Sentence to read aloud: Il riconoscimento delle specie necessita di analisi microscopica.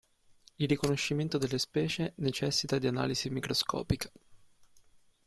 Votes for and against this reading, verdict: 2, 0, accepted